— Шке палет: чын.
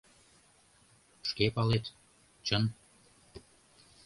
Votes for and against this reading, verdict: 2, 0, accepted